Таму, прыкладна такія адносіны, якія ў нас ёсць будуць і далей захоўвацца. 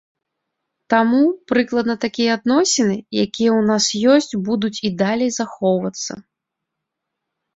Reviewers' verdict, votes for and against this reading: accepted, 2, 0